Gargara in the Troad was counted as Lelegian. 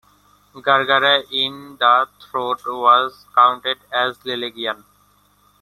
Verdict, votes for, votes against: rejected, 0, 2